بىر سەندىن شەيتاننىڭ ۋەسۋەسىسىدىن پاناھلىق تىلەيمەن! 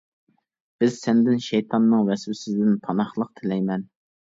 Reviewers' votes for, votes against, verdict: 0, 2, rejected